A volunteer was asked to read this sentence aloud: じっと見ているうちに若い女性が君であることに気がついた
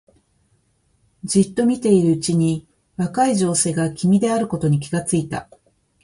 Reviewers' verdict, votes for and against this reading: rejected, 0, 2